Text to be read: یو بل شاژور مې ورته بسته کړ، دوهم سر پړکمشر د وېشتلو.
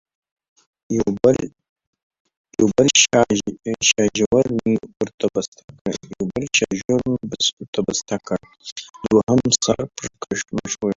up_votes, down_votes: 0, 2